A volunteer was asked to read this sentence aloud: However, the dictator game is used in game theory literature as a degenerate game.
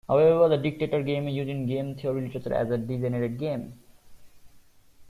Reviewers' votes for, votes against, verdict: 0, 2, rejected